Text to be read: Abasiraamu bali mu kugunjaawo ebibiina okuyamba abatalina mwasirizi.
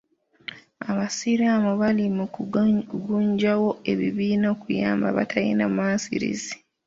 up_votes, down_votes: 0, 2